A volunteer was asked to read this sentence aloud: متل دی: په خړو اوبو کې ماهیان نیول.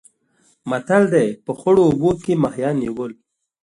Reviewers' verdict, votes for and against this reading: accepted, 2, 0